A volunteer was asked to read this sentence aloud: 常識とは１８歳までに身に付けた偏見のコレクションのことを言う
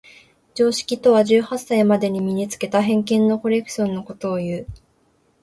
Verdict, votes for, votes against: rejected, 0, 2